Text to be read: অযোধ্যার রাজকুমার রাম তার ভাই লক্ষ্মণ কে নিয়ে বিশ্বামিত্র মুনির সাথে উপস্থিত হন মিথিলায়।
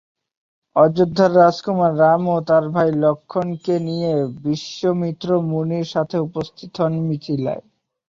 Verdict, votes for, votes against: rejected, 0, 4